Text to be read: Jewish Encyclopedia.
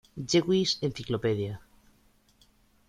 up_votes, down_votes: 2, 0